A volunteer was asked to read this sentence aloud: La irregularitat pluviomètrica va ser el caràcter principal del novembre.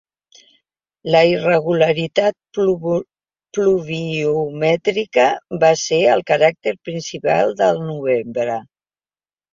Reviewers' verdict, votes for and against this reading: rejected, 0, 6